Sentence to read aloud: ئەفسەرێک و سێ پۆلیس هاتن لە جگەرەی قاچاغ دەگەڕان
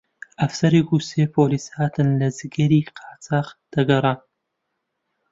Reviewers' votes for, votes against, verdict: 0, 2, rejected